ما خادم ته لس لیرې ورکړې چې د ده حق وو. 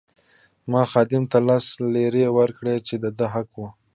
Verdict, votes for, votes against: accepted, 2, 1